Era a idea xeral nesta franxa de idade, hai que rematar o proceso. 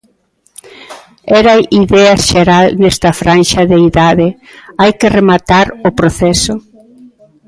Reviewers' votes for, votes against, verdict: 0, 2, rejected